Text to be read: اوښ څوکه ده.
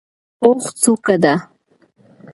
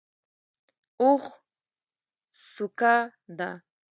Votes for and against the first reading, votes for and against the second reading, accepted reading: 2, 1, 0, 2, first